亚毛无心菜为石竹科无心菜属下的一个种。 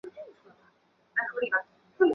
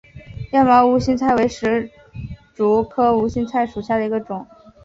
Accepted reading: second